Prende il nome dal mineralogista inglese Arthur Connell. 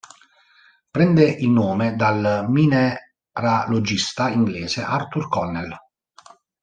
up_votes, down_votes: 1, 2